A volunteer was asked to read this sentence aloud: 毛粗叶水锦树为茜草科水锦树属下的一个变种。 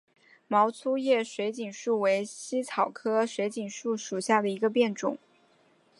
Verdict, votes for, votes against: accepted, 4, 0